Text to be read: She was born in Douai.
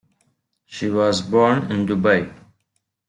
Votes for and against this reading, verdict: 1, 2, rejected